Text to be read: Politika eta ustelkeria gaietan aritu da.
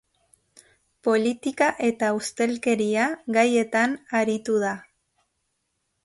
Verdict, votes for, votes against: accepted, 2, 0